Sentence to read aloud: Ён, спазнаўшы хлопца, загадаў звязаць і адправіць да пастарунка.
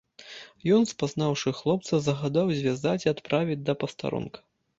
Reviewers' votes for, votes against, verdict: 2, 0, accepted